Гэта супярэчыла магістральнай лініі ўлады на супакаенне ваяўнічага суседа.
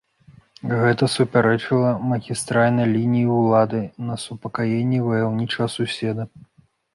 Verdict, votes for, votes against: accepted, 3, 0